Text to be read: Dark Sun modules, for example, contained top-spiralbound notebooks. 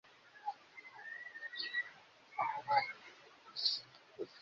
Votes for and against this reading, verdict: 0, 3, rejected